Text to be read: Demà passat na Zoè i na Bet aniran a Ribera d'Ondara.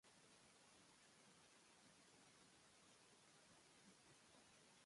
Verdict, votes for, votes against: rejected, 0, 2